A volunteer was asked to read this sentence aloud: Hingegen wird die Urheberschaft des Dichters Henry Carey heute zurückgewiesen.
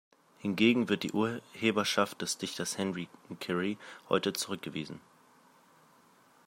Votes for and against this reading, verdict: 2, 0, accepted